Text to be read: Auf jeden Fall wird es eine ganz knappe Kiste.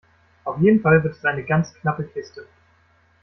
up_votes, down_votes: 2, 0